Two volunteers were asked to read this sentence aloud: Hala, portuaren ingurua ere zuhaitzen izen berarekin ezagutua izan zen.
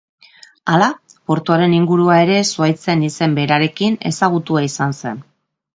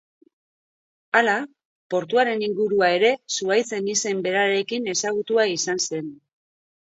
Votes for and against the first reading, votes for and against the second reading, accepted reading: 2, 0, 0, 2, first